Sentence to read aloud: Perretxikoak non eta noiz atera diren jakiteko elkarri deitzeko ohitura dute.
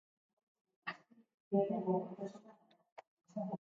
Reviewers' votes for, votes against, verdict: 0, 2, rejected